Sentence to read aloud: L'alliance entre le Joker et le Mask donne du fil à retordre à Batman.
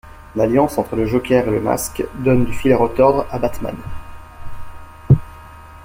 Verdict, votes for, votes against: rejected, 1, 2